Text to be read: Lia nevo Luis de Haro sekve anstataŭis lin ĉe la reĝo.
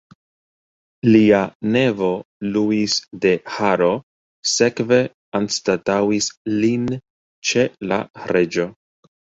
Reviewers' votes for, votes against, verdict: 2, 0, accepted